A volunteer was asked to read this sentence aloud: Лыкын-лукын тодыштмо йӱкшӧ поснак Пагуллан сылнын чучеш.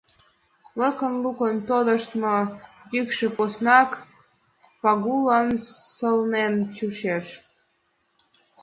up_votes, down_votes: 0, 2